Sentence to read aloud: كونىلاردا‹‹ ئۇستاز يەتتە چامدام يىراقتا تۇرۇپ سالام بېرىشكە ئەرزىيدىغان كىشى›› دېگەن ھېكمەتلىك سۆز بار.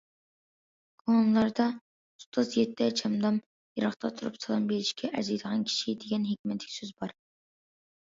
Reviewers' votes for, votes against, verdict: 2, 0, accepted